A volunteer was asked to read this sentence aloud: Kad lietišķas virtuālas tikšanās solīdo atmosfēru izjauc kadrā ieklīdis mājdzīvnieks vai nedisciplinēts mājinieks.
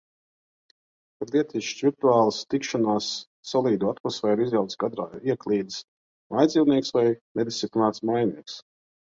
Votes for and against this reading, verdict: 2, 0, accepted